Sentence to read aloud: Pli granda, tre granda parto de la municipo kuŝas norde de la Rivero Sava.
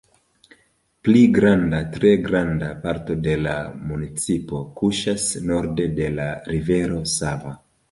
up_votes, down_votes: 2, 0